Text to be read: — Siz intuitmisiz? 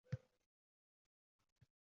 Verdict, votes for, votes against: rejected, 0, 2